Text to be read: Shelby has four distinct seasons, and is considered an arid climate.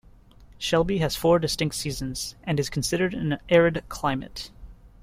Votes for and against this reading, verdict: 1, 2, rejected